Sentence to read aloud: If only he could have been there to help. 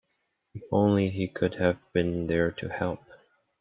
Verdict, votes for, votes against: accepted, 2, 0